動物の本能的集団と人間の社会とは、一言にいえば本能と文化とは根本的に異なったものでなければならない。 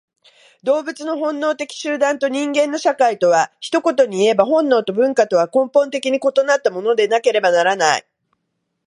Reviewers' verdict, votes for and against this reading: accepted, 2, 0